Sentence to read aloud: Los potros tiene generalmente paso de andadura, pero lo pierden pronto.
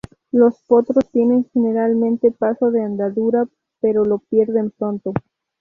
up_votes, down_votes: 2, 0